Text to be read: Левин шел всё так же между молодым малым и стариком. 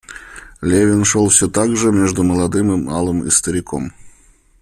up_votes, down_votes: 0, 2